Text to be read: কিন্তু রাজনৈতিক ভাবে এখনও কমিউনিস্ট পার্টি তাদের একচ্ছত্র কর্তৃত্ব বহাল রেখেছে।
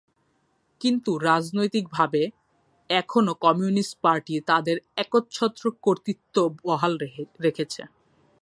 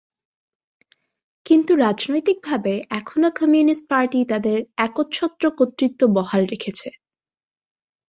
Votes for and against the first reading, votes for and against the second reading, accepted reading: 1, 2, 4, 0, second